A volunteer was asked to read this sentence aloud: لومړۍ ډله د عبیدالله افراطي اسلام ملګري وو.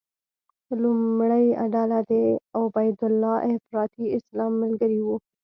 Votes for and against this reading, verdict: 2, 0, accepted